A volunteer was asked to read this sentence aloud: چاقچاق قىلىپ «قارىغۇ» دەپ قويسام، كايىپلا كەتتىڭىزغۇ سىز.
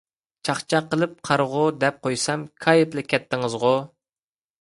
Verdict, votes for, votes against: rejected, 1, 2